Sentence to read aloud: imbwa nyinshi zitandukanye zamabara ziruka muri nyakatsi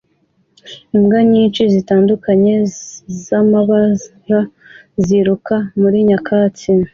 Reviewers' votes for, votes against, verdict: 2, 0, accepted